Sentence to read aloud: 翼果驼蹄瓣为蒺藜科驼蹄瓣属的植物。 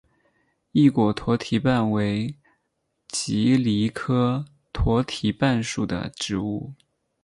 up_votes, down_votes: 14, 0